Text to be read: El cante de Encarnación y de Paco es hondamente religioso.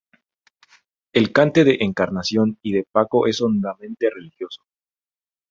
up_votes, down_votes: 2, 0